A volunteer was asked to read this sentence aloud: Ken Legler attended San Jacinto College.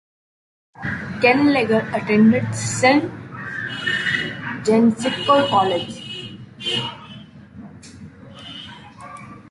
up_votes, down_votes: 0, 5